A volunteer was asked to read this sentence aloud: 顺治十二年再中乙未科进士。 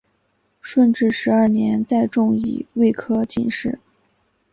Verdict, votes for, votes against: accepted, 2, 0